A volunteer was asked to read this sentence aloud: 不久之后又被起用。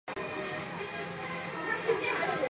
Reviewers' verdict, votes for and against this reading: rejected, 1, 4